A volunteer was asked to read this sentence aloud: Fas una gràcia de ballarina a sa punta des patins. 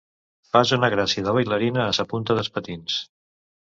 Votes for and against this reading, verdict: 0, 2, rejected